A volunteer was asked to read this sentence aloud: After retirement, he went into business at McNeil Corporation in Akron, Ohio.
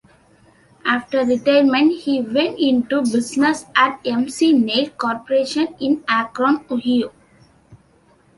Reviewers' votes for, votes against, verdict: 0, 2, rejected